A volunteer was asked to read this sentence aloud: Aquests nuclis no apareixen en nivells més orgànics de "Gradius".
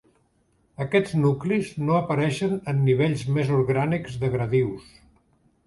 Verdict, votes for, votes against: rejected, 0, 2